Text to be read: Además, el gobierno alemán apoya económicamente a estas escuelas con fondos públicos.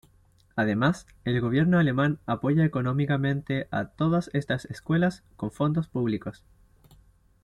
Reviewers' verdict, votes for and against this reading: rejected, 1, 2